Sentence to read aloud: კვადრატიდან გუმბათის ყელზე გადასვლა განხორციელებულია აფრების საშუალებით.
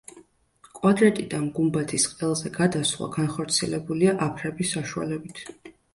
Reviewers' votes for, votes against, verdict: 2, 0, accepted